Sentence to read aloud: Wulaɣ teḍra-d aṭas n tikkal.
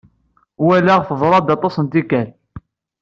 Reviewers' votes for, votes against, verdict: 2, 0, accepted